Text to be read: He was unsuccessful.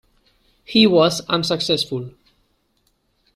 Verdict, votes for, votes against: accepted, 2, 1